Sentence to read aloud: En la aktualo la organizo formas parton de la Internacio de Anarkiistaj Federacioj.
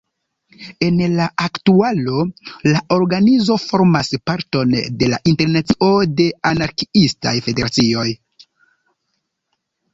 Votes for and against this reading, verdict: 1, 2, rejected